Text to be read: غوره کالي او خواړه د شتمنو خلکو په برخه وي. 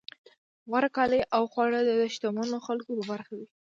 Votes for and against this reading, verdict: 2, 0, accepted